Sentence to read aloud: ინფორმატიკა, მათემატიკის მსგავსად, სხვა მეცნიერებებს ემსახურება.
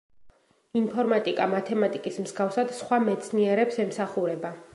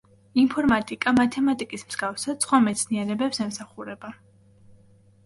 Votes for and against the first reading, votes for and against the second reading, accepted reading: 0, 2, 2, 0, second